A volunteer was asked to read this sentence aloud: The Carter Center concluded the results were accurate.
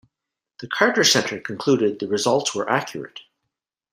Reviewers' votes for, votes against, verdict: 2, 0, accepted